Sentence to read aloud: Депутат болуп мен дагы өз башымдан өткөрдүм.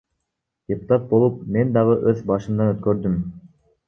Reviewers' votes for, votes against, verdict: 1, 2, rejected